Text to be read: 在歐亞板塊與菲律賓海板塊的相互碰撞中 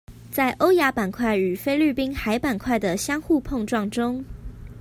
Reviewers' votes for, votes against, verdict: 2, 0, accepted